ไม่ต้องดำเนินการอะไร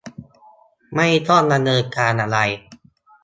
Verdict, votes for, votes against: accepted, 2, 0